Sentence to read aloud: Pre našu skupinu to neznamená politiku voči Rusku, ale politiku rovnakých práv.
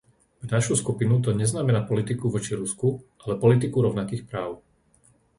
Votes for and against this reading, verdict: 0, 2, rejected